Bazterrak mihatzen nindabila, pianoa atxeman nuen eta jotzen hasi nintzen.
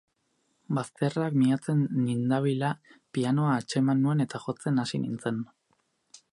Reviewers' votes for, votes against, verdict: 4, 0, accepted